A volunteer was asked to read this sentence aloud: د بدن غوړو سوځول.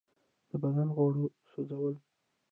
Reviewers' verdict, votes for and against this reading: rejected, 1, 2